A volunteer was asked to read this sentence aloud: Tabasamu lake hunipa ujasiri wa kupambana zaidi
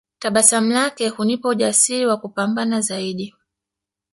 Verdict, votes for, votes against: accepted, 2, 1